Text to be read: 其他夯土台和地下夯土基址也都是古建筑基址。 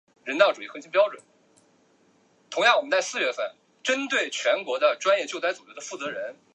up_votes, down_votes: 0, 2